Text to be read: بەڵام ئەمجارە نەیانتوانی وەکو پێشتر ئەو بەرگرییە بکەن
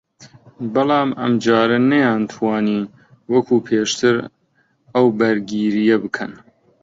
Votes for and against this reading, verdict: 0, 2, rejected